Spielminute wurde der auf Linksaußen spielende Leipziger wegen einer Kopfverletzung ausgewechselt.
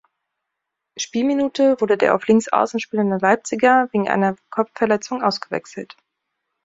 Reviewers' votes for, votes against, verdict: 3, 0, accepted